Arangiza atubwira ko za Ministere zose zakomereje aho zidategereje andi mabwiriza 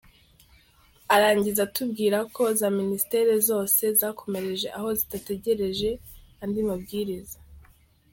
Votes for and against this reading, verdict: 2, 1, accepted